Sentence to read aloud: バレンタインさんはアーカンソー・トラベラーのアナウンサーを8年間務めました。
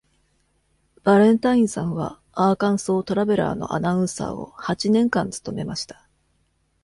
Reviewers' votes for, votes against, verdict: 0, 2, rejected